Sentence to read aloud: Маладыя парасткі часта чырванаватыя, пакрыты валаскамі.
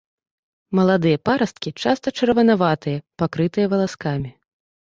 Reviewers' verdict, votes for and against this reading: rejected, 1, 2